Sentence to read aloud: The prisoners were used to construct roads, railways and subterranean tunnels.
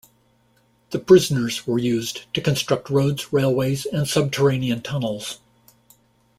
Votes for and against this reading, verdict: 2, 0, accepted